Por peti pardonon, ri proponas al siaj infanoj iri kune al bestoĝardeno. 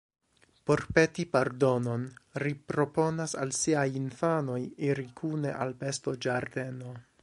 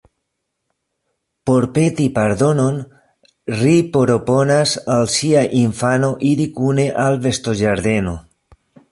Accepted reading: first